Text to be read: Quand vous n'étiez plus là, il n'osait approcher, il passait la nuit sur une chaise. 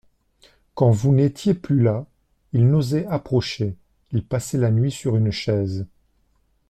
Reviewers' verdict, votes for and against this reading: accepted, 2, 0